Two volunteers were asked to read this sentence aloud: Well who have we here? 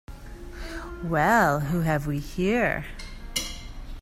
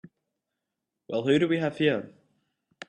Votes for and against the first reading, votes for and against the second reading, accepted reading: 2, 0, 0, 2, first